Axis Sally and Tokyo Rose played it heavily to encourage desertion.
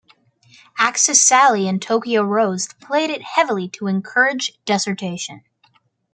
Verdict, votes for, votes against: rejected, 0, 2